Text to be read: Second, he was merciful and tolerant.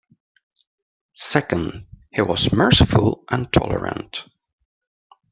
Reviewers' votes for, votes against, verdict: 2, 0, accepted